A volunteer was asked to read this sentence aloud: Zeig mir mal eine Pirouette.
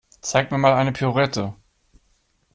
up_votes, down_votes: 2, 0